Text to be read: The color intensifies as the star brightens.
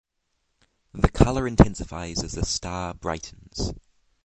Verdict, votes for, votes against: accepted, 6, 0